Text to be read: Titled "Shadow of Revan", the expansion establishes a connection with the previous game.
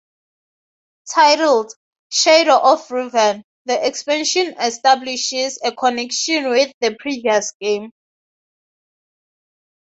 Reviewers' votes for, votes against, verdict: 4, 0, accepted